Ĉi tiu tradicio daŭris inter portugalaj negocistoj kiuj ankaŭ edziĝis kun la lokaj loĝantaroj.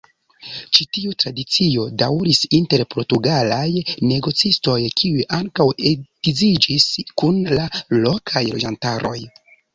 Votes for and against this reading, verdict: 1, 2, rejected